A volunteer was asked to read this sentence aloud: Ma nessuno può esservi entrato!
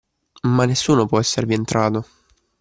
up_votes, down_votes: 2, 0